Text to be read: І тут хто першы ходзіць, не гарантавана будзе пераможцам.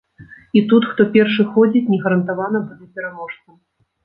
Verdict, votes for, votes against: rejected, 1, 2